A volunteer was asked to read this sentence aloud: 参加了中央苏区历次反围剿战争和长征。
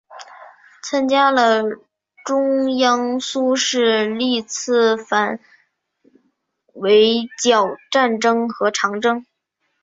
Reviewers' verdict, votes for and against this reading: rejected, 0, 2